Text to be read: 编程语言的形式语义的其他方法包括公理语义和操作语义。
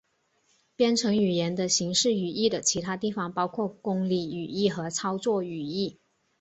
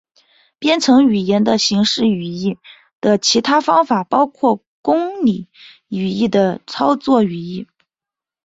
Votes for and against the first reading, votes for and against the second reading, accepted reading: 3, 0, 0, 2, first